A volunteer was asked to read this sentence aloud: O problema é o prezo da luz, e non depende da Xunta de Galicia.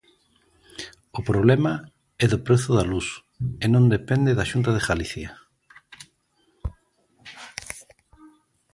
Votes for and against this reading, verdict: 0, 2, rejected